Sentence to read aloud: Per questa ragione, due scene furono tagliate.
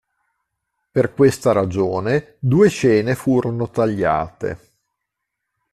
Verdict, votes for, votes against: accepted, 2, 0